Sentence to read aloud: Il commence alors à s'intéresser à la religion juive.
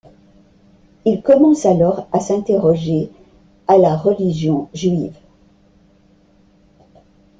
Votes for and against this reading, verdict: 0, 2, rejected